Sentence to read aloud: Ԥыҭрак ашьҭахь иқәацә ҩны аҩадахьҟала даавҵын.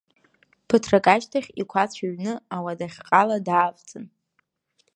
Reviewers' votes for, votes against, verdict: 1, 2, rejected